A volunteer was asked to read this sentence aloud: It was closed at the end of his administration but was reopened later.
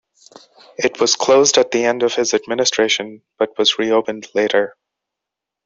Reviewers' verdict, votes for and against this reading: accepted, 2, 0